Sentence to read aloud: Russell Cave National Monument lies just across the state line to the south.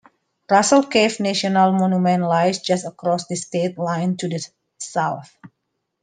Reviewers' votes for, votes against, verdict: 0, 2, rejected